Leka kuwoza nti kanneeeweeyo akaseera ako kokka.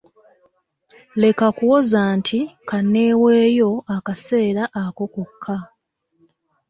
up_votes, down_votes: 2, 0